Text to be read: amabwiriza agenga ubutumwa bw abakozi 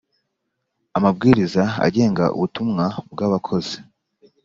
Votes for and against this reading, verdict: 3, 0, accepted